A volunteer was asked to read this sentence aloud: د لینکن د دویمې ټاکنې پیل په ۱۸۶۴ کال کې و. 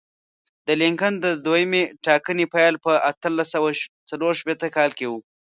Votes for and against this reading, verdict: 0, 2, rejected